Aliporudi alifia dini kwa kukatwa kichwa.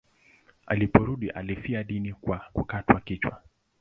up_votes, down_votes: 2, 0